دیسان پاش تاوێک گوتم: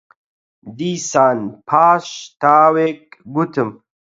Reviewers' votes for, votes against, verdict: 4, 0, accepted